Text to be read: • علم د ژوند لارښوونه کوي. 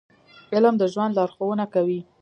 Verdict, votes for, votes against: accepted, 2, 0